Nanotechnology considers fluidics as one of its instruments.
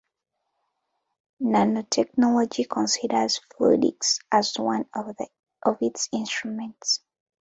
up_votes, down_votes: 1, 2